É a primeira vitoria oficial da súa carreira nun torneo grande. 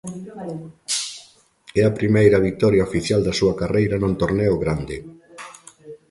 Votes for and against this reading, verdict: 1, 2, rejected